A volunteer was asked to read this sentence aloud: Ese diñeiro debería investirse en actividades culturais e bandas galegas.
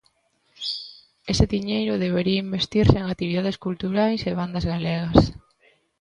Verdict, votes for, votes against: accepted, 2, 0